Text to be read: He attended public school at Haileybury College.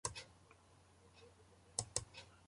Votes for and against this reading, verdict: 0, 2, rejected